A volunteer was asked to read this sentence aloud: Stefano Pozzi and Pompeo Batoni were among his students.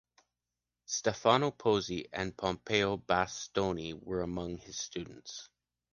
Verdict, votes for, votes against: rejected, 1, 2